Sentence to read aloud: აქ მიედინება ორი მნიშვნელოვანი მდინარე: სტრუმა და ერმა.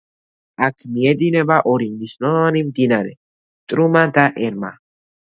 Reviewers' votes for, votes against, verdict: 0, 2, rejected